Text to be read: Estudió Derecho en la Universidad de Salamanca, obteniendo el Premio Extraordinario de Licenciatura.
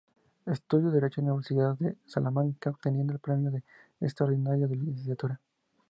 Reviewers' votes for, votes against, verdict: 2, 0, accepted